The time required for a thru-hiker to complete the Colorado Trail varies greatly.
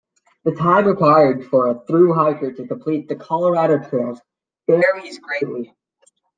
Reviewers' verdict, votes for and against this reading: rejected, 0, 2